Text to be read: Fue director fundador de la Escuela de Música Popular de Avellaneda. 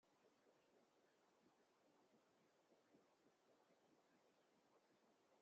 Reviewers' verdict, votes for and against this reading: rejected, 0, 2